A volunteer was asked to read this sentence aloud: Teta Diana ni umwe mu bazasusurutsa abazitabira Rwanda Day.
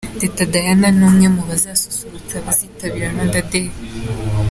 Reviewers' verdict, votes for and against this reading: accepted, 2, 0